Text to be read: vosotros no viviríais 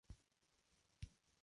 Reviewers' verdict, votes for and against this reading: rejected, 0, 2